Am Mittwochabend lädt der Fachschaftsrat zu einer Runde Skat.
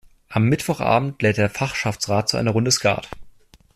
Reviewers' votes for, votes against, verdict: 2, 0, accepted